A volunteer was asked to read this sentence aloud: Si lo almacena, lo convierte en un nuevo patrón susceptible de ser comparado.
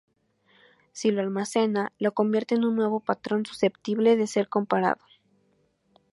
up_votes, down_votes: 2, 2